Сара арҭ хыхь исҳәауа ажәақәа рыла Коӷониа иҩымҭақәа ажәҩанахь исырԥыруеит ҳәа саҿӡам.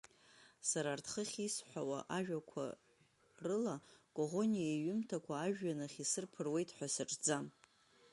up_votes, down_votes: 2, 0